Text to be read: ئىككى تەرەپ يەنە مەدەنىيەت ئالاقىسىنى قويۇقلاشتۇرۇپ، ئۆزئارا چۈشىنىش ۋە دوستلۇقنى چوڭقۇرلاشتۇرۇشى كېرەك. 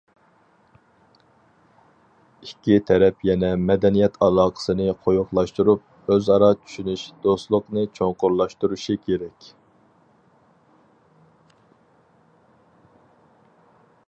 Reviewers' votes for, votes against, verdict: 2, 2, rejected